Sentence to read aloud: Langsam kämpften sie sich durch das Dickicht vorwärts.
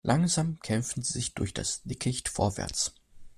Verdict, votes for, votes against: accepted, 2, 0